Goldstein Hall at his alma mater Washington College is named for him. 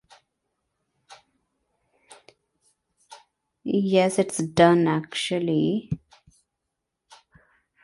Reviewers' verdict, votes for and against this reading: rejected, 0, 2